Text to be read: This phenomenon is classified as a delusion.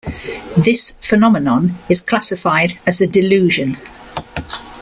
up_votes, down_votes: 2, 0